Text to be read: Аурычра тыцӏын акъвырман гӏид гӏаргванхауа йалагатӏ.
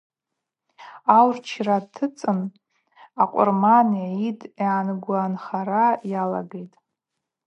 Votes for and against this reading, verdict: 0, 4, rejected